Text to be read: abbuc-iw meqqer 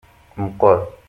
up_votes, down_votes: 1, 2